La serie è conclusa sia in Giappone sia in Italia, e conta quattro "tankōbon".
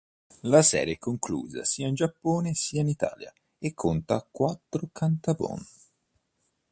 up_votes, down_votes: 1, 2